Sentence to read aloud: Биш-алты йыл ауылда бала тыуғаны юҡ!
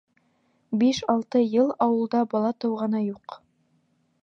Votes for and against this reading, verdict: 2, 0, accepted